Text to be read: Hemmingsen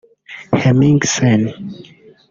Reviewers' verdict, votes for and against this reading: rejected, 1, 2